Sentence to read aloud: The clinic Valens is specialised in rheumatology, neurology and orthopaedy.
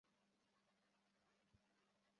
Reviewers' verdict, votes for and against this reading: rejected, 0, 2